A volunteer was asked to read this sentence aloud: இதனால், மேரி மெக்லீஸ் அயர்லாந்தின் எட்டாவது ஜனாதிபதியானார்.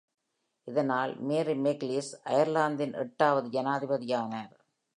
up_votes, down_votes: 2, 0